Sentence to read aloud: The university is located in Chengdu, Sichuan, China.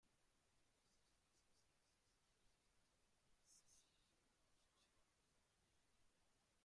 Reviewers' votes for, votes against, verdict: 0, 2, rejected